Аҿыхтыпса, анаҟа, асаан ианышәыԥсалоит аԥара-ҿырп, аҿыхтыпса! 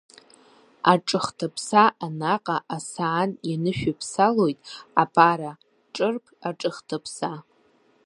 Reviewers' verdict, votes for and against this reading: rejected, 1, 2